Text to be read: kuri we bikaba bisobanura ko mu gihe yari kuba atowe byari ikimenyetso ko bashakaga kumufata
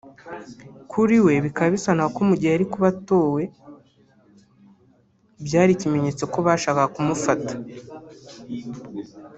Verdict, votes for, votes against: rejected, 1, 2